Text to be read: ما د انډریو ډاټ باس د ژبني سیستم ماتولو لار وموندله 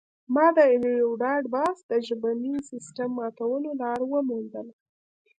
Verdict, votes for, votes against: rejected, 0, 2